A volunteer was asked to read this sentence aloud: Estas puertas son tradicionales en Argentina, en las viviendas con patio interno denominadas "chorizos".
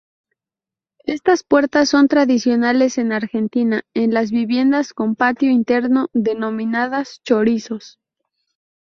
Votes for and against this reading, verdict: 4, 0, accepted